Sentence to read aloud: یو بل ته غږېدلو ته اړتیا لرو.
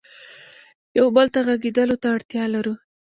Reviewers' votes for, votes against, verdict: 2, 0, accepted